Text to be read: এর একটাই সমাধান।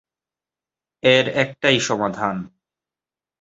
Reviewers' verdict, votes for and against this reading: accepted, 2, 0